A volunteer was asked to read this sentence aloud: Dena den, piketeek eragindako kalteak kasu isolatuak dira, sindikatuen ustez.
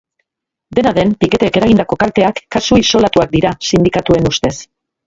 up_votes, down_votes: 0, 2